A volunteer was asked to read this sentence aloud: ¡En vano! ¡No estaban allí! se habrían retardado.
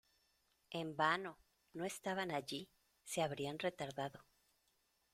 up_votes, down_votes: 2, 0